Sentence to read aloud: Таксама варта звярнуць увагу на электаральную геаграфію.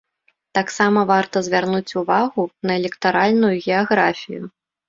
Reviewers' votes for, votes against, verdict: 2, 0, accepted